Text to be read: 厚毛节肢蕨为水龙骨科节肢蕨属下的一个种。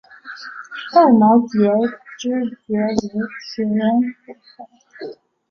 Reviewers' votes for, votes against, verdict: 1, 4, rejected